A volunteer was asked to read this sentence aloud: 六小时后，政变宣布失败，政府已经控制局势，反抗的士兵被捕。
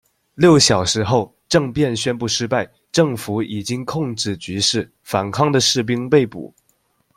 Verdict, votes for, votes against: accepted, 2, 0